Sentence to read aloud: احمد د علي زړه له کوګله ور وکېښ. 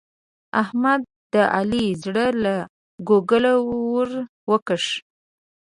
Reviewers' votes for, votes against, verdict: 1, 2, rejected